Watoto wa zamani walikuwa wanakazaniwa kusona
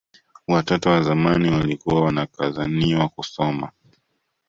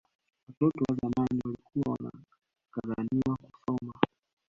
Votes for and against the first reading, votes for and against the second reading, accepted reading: 2, 0, 0, 2, first